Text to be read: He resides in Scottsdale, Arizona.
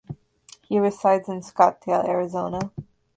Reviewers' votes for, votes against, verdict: 2, 0, accepted